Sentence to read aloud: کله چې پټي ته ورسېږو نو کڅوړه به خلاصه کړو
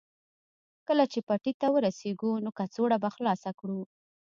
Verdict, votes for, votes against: accepted, 2, 0